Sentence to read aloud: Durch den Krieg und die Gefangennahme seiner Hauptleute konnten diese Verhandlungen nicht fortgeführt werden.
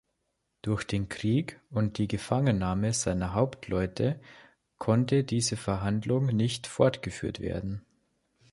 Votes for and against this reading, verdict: 0, 2, rejected